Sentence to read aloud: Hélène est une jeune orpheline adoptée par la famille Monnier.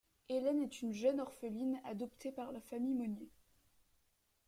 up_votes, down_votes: 2, 0